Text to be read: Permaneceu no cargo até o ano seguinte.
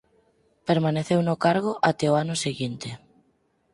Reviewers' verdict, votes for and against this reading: accepted, 4, 0